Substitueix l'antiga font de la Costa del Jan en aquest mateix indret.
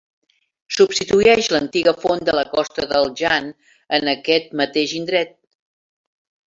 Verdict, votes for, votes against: rejected, 0, 2